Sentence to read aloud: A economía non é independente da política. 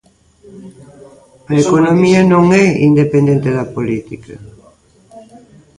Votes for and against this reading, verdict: 3, 1, accepted